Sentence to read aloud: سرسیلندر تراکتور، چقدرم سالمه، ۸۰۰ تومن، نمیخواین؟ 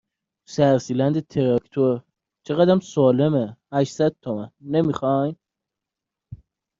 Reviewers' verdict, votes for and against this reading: rejected, 0, 2